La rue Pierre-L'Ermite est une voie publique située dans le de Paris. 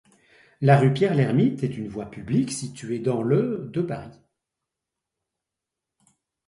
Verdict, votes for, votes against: accepted, 2, 0